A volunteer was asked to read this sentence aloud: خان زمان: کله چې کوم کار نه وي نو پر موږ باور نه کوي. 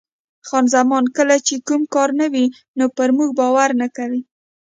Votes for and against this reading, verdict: 2, 0, accepted